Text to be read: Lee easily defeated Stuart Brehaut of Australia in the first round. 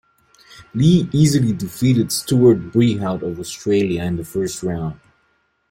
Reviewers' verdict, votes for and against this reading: accepted, 2, 0